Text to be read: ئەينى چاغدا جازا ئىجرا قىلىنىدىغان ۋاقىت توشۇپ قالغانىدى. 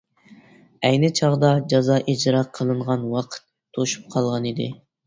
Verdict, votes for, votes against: rejected, 0, 2